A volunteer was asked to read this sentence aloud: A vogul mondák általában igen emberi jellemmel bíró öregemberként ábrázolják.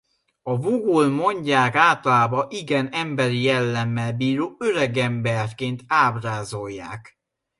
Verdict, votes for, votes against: rejected, 0, 2